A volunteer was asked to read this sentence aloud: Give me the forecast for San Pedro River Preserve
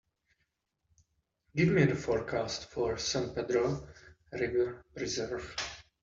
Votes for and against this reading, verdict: 2, 0, accepted